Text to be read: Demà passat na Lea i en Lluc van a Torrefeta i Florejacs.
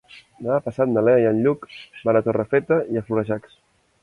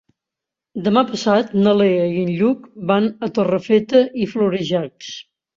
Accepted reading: second